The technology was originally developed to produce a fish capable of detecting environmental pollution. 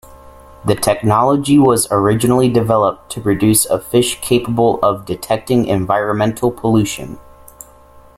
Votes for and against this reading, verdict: 2, 0, accepted